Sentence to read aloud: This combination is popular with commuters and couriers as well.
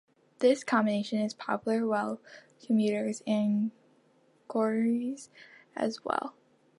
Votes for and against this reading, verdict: 0, 2, rejected